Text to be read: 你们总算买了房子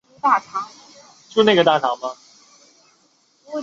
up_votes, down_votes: 0, 2